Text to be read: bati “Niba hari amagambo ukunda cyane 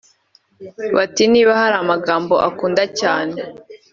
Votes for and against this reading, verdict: 1, 2, rejected